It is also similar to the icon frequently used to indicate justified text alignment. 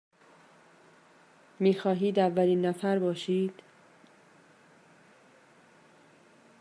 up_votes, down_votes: 0, 2